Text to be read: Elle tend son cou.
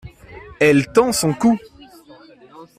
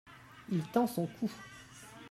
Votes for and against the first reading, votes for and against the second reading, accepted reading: 2, 0, 0, 2, first